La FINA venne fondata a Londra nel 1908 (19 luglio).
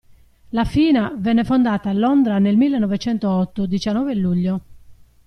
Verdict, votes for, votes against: rejected, 0, 2